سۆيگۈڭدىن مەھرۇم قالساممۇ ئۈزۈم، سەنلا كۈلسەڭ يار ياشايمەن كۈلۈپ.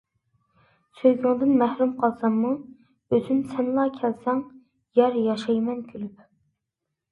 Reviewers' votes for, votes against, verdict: 2, 1, accepted